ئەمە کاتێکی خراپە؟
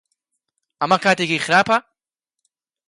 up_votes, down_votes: 3, 0